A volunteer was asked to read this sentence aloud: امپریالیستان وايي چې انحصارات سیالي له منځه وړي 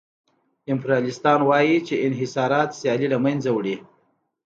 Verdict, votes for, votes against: accepted, 2, 0